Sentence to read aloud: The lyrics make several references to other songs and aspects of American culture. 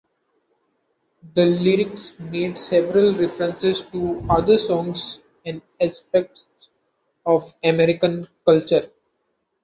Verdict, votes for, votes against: rejected, 1, 2